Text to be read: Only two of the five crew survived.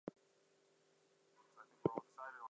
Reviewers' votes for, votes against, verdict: 0, 4, rejected